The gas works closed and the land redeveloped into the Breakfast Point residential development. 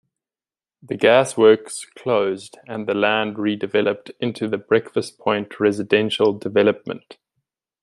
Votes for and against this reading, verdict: 2, 0, accepted